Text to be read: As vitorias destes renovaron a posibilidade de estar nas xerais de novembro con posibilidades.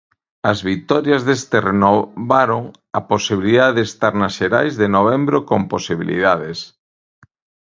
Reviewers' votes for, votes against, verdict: 0, 2, rejected